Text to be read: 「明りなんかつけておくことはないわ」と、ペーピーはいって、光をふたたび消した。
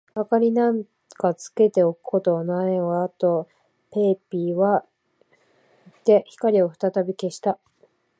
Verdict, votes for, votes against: rejected, 2, 2